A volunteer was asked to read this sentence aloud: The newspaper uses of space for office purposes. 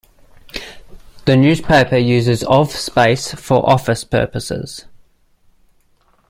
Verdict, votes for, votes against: accepted, 2, 1